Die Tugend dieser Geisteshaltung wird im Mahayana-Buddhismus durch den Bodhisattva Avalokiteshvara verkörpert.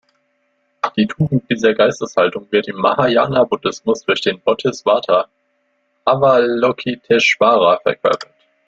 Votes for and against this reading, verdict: 0, 2, rejected